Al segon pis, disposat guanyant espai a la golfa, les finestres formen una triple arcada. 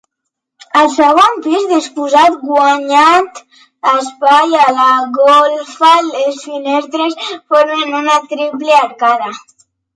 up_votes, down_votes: 2, 1